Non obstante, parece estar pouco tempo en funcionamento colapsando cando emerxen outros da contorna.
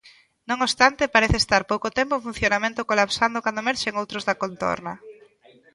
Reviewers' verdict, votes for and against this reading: rejected, 1, 2